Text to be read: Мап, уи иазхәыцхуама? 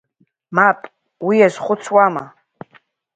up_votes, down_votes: 1, 2